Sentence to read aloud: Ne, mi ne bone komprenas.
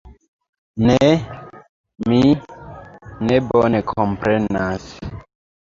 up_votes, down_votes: 2, 1